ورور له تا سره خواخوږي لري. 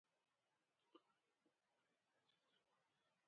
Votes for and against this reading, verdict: 0, 2, rejected